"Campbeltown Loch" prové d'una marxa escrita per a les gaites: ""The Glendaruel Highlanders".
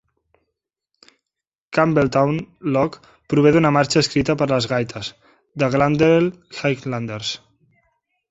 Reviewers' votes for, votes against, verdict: 1, 2, rejected